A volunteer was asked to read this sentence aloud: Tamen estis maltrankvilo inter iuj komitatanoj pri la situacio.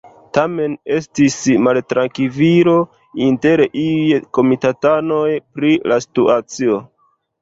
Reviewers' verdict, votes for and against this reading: rejected, 1, 2